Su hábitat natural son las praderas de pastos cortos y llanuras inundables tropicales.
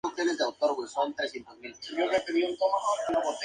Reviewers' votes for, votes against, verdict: 0, 2, rejected